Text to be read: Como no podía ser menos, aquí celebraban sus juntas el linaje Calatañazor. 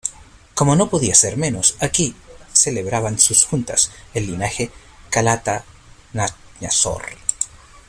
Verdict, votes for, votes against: rejected, 1, 2